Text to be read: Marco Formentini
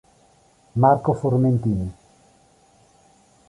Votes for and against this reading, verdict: 2, 0, accepted